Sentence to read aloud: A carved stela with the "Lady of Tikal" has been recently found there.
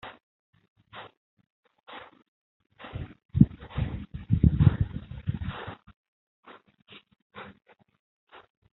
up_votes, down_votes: 0, 2